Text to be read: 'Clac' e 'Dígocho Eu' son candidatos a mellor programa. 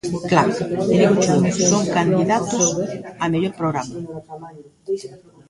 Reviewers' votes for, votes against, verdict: 0, 2, rejected